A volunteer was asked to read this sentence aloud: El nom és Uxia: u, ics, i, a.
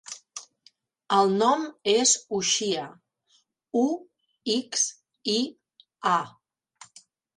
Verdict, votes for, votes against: accepted, 2, 0